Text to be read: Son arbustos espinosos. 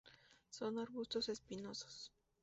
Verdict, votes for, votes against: rejected, 0, 2